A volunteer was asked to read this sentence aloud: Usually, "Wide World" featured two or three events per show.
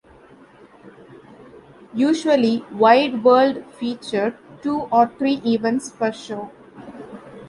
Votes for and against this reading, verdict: 2, 1, accepted